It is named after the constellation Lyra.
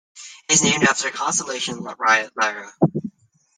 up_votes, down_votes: 0, 2